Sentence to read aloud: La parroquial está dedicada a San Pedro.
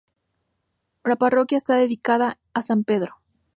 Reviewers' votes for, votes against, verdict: 2, 0, accepted